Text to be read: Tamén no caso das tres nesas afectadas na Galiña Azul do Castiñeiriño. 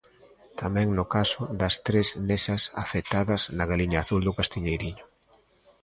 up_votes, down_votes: 0, 2